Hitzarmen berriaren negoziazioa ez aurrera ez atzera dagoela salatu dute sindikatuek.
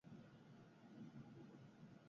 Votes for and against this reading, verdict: 0, 4, rejected